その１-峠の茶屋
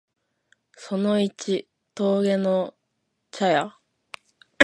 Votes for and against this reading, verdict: 0, 2, rejected